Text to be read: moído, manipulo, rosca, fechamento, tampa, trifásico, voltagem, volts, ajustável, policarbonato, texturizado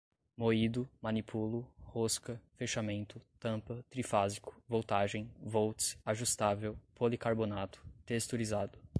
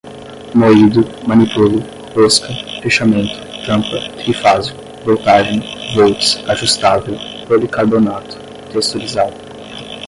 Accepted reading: first